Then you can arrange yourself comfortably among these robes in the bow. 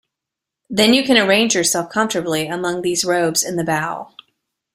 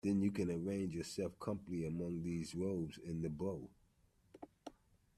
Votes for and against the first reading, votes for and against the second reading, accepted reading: 2, 0, 1, 2, first